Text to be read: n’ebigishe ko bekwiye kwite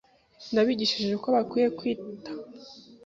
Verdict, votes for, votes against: rejected, 0, 2